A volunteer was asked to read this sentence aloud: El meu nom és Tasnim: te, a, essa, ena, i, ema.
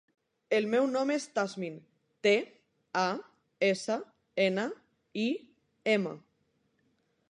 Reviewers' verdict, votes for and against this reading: rejected, 1, 2